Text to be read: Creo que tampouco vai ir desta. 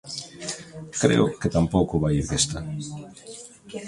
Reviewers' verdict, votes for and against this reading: rejected, 1, 2